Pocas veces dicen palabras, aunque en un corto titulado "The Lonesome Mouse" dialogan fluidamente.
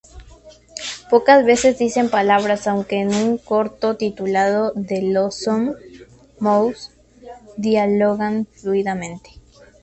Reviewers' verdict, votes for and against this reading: accepted, 2, 0